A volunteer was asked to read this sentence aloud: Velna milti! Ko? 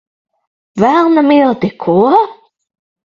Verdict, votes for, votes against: accepted, 6, 0